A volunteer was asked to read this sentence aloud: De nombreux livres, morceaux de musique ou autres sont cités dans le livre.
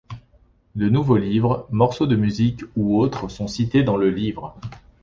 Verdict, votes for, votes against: rejected, 1, 2